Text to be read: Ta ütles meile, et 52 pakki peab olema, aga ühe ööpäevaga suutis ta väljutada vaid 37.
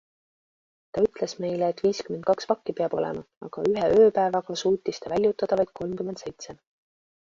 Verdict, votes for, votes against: rejected, 0, 2